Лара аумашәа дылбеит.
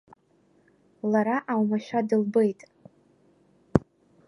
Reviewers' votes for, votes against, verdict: 1, 2, rejected